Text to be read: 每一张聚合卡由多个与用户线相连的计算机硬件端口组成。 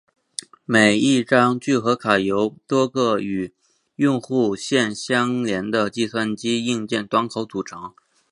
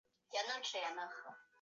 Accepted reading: first